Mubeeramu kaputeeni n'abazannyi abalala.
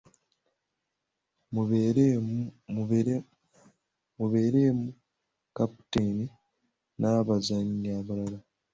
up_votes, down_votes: 0, 2